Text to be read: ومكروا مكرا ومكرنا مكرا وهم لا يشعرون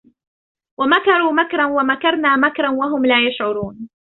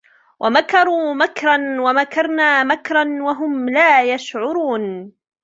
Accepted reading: second